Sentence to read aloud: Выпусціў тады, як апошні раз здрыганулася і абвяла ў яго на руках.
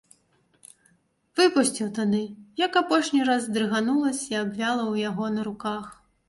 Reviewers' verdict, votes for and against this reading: accepted, 2, 0